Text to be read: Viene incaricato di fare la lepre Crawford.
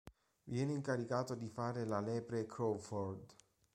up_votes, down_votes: 2, 0